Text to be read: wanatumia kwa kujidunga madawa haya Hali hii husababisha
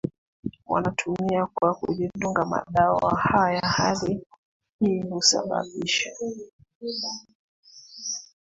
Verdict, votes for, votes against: rejected, 1, 2